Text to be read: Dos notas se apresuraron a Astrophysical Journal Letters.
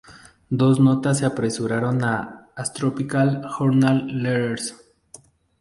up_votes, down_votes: 0, 2